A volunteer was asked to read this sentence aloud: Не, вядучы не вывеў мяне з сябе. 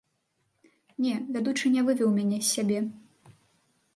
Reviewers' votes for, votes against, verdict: 1, 2, rejected